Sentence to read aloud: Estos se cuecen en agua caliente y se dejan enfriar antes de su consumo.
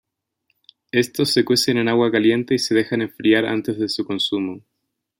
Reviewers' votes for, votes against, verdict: 2, 0, accepted